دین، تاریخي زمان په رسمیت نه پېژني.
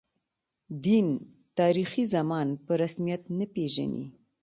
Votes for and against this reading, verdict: 2, 0, accepted